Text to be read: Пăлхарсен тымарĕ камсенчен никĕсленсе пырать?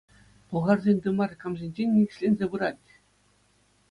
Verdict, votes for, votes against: accepted, 2, 0